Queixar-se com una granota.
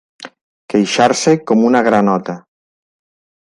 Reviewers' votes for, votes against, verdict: 3, 0, accepted